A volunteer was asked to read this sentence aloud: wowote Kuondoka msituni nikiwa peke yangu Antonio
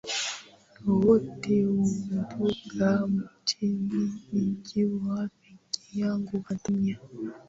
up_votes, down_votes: 0, 2